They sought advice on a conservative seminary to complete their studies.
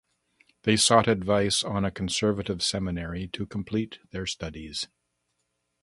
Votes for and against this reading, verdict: 8, 0, accepted